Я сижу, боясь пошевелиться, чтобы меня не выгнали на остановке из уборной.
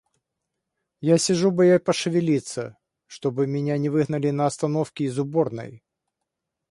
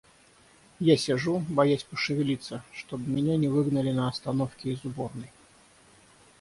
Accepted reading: second